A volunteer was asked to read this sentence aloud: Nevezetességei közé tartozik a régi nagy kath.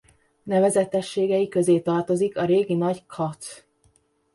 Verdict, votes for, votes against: rejected, 1, 2